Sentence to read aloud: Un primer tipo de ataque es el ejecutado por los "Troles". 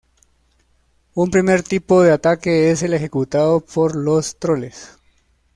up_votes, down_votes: 0, 2